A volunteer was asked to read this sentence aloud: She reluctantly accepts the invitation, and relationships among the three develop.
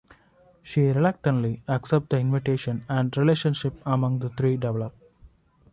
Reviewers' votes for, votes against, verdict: 1, 2, rejected